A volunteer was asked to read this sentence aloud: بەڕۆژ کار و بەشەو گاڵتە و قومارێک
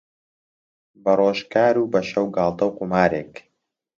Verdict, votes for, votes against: accepted, 2, 0